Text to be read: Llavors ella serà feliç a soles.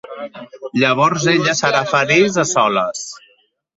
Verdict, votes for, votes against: rejected, 0, 2